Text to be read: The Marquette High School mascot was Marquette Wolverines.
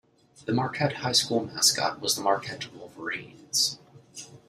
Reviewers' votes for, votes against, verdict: 2, 1, accepted